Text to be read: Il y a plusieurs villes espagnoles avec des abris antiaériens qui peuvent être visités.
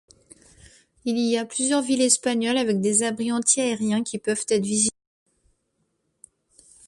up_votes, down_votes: 0, 2